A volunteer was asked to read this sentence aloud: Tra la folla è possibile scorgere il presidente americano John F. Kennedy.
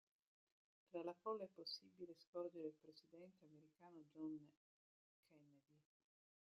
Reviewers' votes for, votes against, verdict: 0, 2, rejected